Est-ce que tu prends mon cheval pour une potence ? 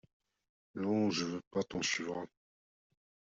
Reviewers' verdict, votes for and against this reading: rejected, 0, 2